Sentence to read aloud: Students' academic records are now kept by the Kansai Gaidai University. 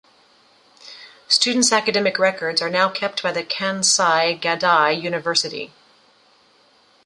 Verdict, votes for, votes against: accepted, 2, 0